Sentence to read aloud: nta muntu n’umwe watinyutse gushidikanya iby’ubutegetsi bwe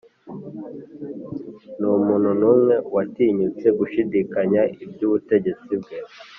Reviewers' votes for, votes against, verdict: 1, 2, rejected